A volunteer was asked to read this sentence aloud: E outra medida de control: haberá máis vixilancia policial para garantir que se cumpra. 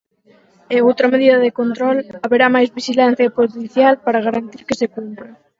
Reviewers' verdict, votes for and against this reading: rejected, 2, 4